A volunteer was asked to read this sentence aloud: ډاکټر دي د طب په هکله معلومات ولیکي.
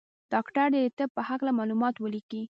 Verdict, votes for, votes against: rejected, 0, 2